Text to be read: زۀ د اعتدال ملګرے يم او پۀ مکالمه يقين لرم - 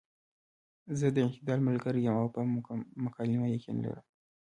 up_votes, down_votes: 2, 0